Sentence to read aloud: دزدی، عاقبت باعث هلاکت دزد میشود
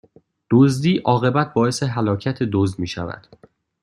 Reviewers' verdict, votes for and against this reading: accepted, 2, 0